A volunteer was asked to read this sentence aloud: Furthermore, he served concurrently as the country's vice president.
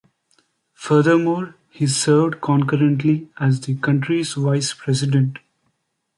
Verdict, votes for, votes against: accepted, 2, 0